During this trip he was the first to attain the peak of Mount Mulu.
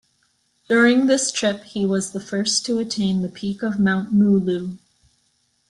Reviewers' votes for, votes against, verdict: 2, 0, accepted